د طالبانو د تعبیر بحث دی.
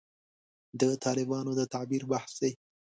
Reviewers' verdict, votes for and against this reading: accepted, 2, 0